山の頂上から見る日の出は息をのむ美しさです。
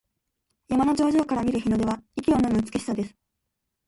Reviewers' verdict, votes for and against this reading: accepted, 2, 1